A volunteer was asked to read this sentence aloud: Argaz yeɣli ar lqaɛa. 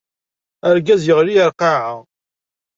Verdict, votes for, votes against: accepted, 2, 0